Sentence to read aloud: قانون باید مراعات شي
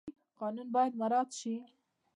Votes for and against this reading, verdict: 2, 0, accepted